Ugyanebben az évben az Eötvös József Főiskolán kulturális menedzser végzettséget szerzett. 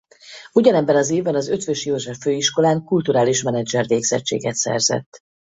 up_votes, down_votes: 4, 0